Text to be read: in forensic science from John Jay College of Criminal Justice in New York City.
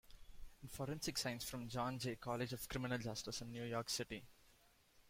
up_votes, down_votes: 1, 2